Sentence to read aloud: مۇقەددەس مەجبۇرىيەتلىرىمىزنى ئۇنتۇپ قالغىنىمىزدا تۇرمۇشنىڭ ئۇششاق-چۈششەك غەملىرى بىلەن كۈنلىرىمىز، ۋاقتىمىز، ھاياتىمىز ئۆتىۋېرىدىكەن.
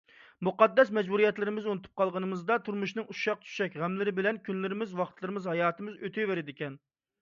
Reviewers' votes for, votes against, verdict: 0, 2, rejected